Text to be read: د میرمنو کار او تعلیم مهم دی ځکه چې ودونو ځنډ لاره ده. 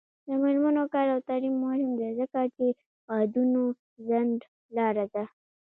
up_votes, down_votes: 2, 0